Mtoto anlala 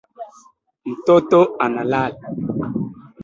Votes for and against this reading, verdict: 1, 2, rejected